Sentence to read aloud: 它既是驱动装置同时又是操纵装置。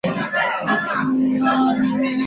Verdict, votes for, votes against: rejected, 0, 2